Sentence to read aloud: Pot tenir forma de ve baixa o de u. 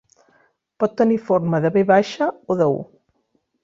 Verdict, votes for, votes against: accepted, 2, 0